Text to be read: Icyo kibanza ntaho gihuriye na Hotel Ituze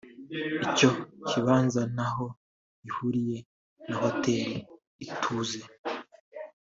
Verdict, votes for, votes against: rejected, 0, 2